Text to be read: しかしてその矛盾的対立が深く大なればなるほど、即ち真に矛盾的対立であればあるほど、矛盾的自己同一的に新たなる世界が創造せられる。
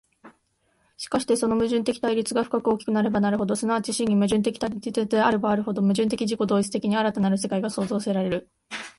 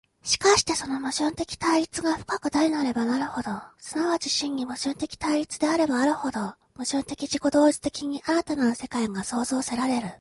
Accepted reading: second